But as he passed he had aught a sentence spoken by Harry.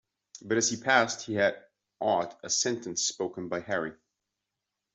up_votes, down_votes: 2, 0